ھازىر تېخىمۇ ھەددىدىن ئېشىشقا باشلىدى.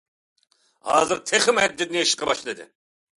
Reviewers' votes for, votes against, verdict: 2, 0, accepted